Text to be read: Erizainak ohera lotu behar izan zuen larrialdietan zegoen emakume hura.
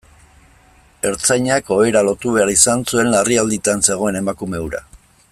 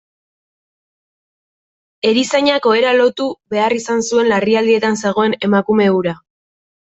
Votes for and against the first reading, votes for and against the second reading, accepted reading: 0, 2, 2, 0, second